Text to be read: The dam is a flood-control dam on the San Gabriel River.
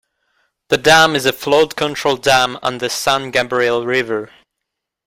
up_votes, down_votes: 1, 2